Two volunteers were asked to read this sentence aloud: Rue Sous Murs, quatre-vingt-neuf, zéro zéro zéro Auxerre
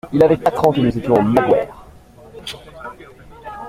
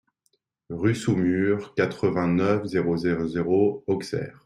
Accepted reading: second